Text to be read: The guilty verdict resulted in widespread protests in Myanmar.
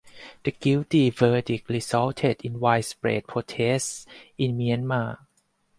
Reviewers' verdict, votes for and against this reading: accepted, 4, 0